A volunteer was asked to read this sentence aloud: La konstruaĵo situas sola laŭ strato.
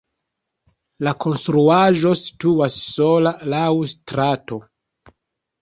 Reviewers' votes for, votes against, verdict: 1, 2, rejected